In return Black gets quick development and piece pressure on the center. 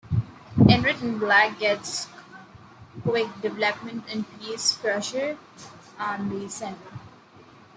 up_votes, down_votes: 1, 2